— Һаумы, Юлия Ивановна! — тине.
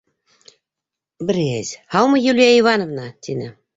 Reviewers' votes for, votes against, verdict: 1, 2, rejected